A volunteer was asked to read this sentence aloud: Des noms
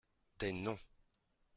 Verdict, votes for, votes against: accepted, 2, 0